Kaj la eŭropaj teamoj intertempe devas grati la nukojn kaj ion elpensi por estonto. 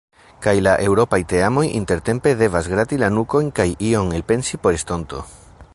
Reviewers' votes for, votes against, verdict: 2, 0, accepted